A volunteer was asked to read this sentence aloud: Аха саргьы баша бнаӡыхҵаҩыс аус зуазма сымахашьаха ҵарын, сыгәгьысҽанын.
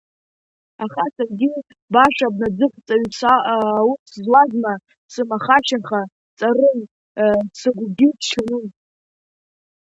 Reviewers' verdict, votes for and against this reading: rejected, 0, 2